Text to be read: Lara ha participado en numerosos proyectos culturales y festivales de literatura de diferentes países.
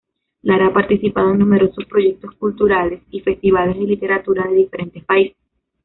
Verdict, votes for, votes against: accepted, 2, 1